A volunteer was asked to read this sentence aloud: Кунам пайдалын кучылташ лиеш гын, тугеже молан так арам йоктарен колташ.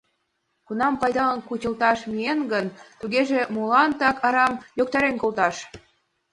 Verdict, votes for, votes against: rejected, 0, 2